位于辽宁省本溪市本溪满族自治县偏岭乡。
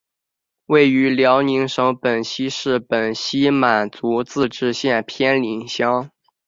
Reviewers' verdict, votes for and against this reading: accepted, 5, 0